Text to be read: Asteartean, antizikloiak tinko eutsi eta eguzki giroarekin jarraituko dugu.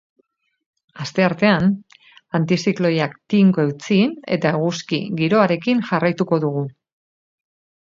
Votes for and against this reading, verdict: 2, 2, rejected